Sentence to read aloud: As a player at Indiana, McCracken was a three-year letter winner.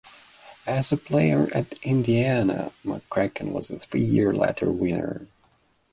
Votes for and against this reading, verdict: 2, 0, accepted